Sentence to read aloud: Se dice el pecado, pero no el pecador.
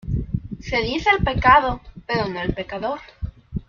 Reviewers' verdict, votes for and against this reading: accepted, 2, 0